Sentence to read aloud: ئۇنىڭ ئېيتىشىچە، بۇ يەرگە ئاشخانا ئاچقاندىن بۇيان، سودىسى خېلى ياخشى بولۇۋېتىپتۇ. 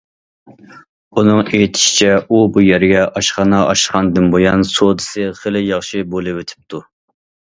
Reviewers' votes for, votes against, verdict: 1, 2, rejected